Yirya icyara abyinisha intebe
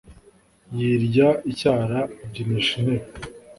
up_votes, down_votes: 2, 0